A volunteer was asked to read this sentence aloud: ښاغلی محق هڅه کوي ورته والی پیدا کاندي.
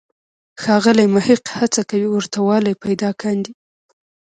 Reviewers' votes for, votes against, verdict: 2, 0, accepted